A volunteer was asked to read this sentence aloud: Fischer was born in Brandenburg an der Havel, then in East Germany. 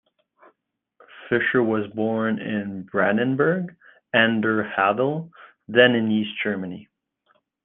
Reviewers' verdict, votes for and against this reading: accepted, 2, 0